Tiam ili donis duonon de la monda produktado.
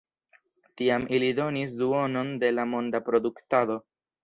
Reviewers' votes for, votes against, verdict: 2, 0, accepted